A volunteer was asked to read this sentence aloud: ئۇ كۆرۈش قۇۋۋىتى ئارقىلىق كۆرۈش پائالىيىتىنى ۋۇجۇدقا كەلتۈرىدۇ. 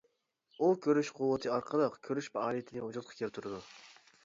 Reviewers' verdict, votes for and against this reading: accepted, 2, 0